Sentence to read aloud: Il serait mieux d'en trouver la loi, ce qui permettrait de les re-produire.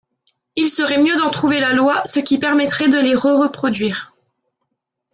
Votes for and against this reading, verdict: 0, 2, rejected